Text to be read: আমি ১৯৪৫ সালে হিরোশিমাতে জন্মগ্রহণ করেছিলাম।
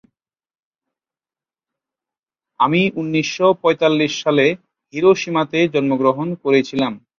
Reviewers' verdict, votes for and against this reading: rejected, 0, 2